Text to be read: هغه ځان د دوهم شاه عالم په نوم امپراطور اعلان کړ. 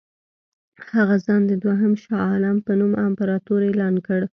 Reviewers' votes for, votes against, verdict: 2, 0, accepted